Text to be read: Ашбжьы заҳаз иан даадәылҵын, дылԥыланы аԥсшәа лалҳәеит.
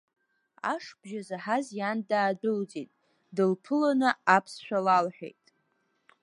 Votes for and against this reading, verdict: 1, 2, rejected